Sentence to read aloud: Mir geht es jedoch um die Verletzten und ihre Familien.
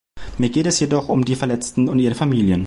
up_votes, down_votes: 2, 0